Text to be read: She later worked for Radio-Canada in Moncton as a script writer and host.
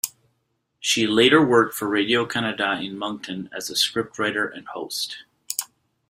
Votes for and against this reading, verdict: 2, 0, accepted